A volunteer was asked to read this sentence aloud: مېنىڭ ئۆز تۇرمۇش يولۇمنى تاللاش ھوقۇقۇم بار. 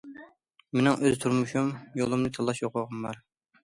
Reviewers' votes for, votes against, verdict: 0, 2, rejected